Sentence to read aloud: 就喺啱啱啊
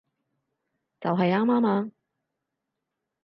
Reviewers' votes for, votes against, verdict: 2, 2, rejected